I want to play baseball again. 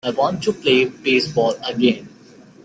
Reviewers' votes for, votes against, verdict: 2, 1, accepted